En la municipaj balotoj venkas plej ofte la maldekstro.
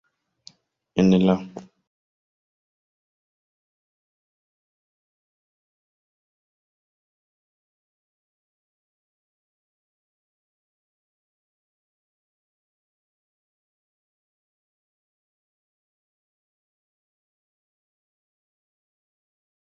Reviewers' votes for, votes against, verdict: 1, 2, rejected